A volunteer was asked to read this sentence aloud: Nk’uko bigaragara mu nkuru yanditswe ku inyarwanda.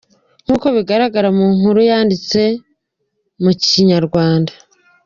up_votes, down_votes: 1, 2